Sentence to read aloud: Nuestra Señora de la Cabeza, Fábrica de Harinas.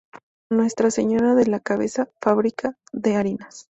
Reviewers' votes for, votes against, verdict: 2, 0, accepted